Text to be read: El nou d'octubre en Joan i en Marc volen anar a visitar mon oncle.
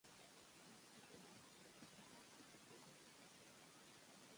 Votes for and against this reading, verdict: 1, 2, rejected